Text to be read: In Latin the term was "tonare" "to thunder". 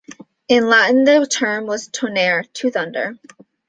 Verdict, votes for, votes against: rejected, 1, 2